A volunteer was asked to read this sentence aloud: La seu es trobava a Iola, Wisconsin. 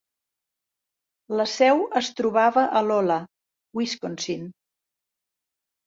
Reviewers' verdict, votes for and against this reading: rejected, 0, 3